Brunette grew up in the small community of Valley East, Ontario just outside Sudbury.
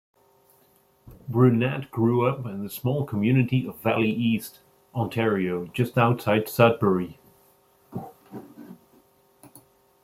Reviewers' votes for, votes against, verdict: 2, 0, accepted